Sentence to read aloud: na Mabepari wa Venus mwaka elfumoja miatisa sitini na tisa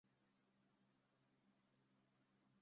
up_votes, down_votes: 0, 2